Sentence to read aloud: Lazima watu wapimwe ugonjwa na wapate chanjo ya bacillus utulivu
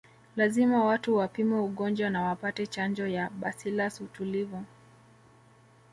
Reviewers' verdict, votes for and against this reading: rejected, 1, 2